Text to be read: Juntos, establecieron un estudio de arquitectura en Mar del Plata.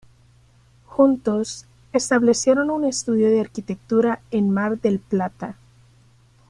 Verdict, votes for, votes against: accepted, 2, 0